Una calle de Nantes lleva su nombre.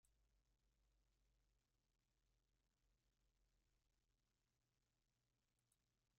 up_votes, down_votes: 0, 2